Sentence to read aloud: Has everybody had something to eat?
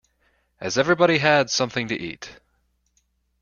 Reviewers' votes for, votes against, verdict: 3, 0, accepted